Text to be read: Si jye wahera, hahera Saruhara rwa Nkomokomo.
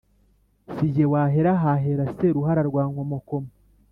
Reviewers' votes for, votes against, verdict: 1, 2, rejected